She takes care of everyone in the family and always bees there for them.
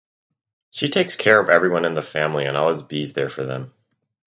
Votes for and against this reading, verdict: 4, 0, accepted